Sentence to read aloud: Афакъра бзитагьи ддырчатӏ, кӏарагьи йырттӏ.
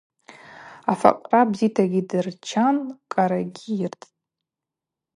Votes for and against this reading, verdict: 0, 2, rejected